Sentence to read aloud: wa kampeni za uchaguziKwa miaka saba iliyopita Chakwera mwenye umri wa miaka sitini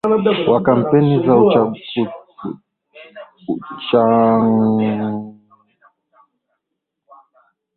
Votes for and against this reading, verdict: 0, 2, rejected